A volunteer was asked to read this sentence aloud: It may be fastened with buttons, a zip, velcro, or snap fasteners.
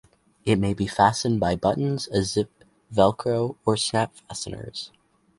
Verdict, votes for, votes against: rejected, 0, 4